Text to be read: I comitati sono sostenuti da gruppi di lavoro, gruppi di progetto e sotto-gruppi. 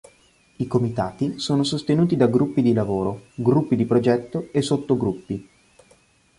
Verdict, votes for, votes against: accepted, 3, 0